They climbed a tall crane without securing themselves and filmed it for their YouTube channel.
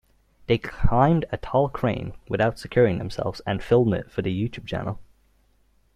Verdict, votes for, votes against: accepted, 2, 0